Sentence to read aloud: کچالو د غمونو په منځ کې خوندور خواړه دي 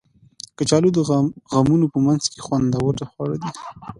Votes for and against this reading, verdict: 2, 0, accepted